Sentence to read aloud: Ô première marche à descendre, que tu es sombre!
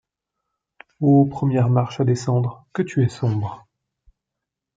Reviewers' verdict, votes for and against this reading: accepted, 2, 1